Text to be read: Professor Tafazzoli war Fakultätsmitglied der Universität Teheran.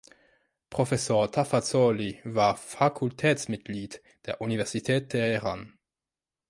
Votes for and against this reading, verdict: 3, 0, accepted